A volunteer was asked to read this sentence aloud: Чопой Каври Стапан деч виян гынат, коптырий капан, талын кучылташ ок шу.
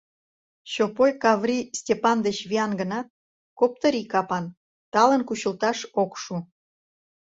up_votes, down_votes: 0, 2